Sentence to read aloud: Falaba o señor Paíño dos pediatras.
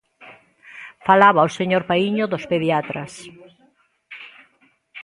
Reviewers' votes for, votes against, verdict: 2, 0, accepted